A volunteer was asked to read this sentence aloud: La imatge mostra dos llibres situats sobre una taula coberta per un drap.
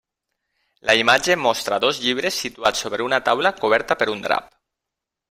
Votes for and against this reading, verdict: 2, 0, accepted